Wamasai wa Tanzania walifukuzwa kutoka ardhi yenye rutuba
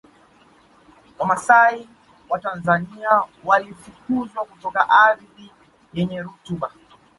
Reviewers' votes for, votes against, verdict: 0, 2, rejected